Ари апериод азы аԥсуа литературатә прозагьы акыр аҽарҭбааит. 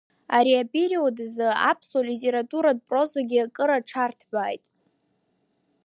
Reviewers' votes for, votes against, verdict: 2, 1, accepted